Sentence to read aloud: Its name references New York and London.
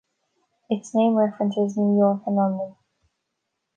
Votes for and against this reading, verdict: 1, 2, rejected